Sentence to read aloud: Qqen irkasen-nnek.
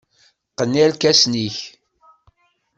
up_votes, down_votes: 2, 0